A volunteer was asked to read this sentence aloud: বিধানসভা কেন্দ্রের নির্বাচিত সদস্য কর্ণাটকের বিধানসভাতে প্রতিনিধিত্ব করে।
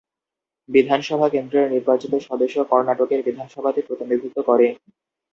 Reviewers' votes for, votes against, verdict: 2, 0, accepted